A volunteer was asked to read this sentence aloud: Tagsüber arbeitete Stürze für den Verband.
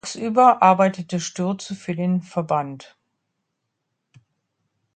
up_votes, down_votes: 0, 2